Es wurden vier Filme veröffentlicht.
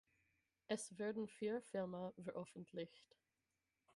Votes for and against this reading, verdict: 0, 6, rejected